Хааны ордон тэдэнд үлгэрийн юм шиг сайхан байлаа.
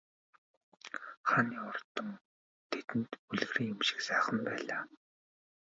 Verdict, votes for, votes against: rejected, 1, 2